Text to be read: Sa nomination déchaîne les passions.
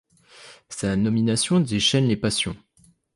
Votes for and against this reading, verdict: 2, 0, accepted